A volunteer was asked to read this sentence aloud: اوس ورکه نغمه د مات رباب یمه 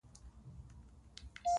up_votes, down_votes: 0, 8